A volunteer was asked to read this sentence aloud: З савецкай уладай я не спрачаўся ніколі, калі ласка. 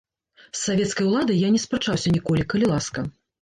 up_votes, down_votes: 2, 0